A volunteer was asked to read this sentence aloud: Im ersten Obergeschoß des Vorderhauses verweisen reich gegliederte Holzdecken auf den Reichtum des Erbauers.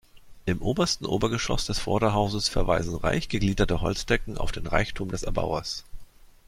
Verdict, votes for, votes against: rejected, 0, 2